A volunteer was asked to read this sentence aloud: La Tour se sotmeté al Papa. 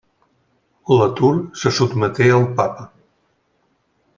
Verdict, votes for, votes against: accepted, 2, 0